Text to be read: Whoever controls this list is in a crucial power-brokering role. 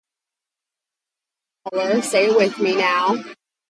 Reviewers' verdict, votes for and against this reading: rejected, 0, 2